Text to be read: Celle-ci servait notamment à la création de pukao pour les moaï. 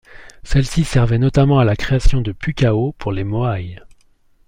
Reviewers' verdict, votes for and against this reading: accepted, 2, 0